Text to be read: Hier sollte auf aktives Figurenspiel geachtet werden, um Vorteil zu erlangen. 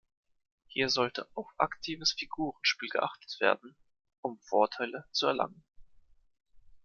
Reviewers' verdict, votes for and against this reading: rejected, 0, 2